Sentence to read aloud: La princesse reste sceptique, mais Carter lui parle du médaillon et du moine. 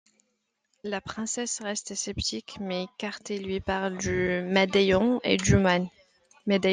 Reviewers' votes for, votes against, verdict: 0, 2, rejected